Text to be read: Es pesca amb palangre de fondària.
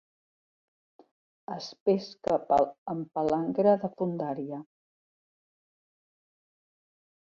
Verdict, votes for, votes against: rejected, 0, 2